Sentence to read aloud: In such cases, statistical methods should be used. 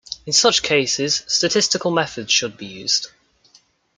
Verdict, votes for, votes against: rejected, 1, 2